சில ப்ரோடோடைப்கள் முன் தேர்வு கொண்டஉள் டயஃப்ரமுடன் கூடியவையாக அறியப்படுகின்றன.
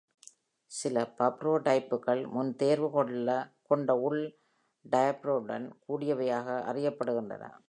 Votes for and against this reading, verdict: 2, 3, rejected